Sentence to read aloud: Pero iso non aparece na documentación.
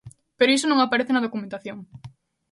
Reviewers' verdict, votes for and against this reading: accepted, 2, 0